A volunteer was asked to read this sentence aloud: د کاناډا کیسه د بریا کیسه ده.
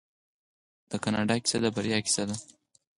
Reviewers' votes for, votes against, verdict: 0, 4, rejected